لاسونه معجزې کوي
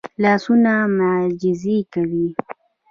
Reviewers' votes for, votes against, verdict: 2, 0, accepted